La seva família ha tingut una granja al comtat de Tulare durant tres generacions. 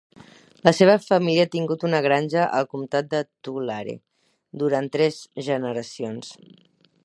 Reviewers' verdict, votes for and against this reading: accepted, 6, 2